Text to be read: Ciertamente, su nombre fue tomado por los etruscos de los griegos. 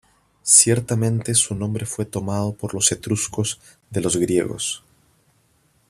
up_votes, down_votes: 2, 0